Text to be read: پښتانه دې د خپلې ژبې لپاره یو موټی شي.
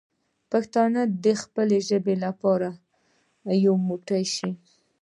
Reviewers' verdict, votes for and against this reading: accepted, 2, 1